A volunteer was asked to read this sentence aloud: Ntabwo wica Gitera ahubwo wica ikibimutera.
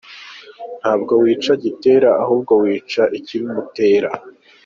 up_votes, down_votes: 3, 0